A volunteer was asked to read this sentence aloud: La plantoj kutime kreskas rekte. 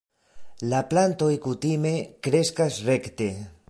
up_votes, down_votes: 2, 0